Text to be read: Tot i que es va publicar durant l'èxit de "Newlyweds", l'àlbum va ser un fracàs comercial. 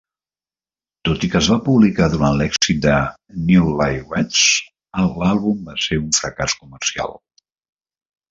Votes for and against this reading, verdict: 1, 2, rejected